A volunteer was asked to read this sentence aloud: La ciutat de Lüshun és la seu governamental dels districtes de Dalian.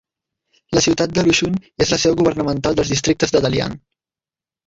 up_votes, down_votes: 0, 2